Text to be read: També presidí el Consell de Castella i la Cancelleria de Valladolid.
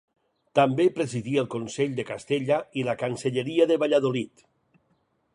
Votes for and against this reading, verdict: 2, 4, rejected